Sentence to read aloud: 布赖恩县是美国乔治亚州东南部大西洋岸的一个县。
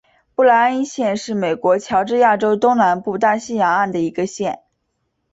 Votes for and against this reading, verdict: 6, 1, accepted